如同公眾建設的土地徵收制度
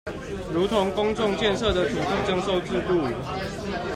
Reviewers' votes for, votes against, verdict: 2, 0, accepted